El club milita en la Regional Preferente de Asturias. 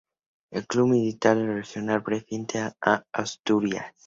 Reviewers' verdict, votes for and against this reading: rejected, 0, 2